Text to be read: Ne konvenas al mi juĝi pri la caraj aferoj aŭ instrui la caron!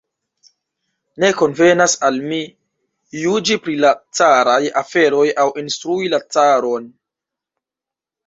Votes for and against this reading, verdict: 1, 2, rejected